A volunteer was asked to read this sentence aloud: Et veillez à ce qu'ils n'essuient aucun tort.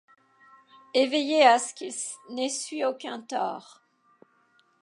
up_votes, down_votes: 0, 2